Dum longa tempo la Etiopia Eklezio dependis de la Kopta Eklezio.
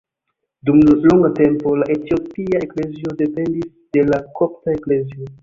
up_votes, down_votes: 0, 2